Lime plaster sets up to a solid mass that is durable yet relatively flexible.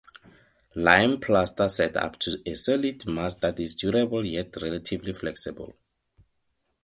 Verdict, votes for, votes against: accepted, 2, 0